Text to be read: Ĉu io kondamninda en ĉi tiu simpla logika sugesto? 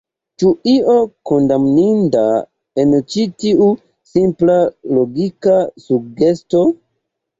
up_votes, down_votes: 2, 0